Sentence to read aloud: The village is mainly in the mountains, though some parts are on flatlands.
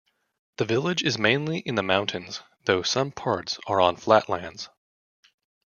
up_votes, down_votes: 2, 0